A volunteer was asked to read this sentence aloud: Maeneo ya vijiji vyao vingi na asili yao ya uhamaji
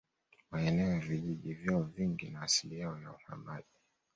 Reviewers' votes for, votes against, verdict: 1, 2, rejected